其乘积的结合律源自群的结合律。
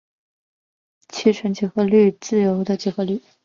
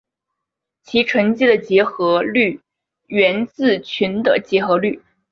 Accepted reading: second